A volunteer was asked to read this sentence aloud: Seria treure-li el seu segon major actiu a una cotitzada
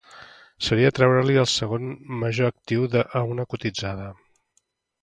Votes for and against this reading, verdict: 0, 2, rejected